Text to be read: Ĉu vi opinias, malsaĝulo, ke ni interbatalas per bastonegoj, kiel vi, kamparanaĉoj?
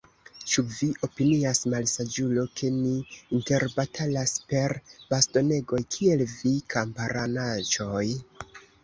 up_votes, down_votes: 0, 2